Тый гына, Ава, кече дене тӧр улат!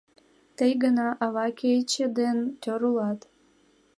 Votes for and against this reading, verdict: 0, 2, rejected